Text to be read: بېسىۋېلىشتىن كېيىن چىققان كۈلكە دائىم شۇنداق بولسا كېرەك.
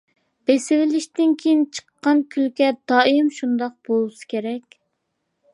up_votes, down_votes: 2, 0